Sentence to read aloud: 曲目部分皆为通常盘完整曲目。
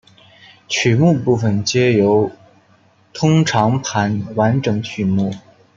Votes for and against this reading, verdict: 1, 2, rejected